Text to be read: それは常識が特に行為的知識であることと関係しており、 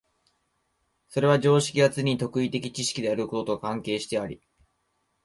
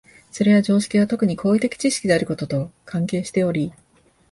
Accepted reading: second